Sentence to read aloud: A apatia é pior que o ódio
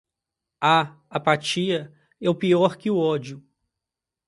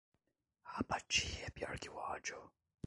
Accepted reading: second